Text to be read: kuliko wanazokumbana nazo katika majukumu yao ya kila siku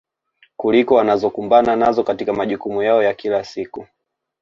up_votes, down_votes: 2, 0